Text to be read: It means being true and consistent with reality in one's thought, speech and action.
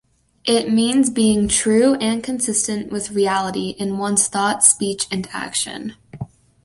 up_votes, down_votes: 2, 0